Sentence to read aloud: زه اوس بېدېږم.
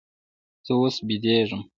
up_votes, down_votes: 1, 2